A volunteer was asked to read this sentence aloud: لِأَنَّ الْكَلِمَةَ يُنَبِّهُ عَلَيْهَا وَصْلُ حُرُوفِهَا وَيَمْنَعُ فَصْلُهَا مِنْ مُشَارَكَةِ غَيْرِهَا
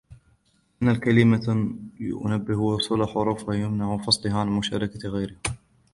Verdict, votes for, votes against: rejected, 1, 3